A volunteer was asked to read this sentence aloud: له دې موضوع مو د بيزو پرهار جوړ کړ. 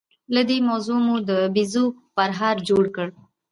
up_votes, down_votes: 2, 1